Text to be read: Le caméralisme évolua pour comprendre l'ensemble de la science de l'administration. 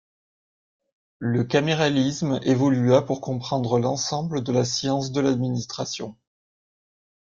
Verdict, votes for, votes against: accepted, 2, 0